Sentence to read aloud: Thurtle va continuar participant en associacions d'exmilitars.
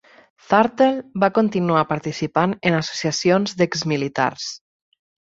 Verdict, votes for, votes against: accepted, 4, 0